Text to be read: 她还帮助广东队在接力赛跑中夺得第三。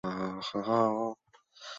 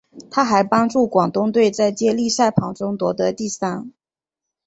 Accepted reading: second